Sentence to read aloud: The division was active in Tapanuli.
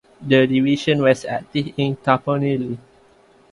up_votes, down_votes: 0, 2